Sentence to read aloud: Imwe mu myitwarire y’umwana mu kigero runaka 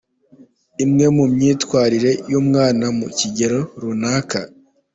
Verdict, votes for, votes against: accepted, 2, 0